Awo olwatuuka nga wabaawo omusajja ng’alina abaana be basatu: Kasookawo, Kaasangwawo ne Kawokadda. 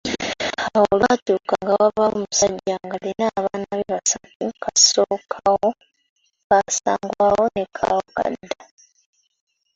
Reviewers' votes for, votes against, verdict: 0, 2, rejected